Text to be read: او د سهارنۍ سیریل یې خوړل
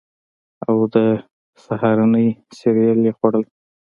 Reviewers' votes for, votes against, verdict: 2, 0, accepted